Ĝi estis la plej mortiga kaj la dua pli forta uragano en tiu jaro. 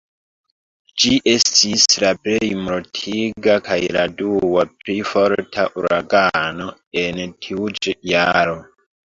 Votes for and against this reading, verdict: 0, 2, rejected